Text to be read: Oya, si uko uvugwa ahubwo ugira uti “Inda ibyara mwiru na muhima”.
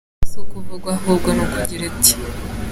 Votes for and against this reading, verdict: 0, 3, rejected